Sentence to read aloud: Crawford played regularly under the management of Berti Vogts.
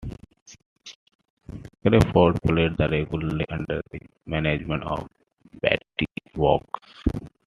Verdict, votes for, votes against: rejected, 1, 2